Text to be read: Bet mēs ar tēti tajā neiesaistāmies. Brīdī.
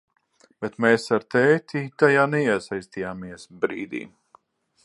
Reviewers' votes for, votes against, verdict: 9, 3, accepted